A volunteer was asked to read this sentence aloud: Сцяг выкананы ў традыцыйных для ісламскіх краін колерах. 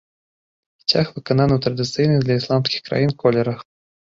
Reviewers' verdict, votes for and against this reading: rejected, 1, 2